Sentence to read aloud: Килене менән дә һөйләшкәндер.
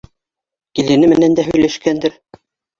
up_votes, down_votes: 2, 0